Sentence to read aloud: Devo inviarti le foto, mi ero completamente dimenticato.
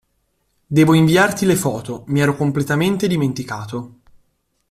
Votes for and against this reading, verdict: 2, 0, accepted